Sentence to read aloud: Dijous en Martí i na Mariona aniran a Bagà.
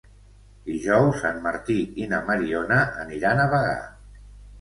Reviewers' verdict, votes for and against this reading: accepted, 2, 0